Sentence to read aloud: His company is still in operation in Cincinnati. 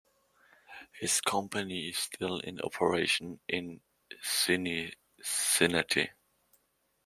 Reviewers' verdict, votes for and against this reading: rejected, 1, 2